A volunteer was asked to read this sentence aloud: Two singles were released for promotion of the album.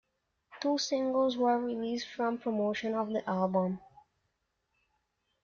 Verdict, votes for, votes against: accepted, 2, 0